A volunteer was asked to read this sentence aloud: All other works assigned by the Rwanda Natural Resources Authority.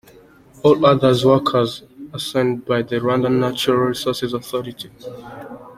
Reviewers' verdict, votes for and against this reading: accepted, 2, 1